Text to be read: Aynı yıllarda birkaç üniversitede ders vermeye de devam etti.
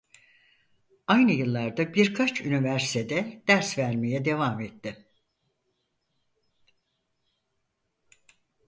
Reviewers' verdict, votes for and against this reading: rejected, 2, 4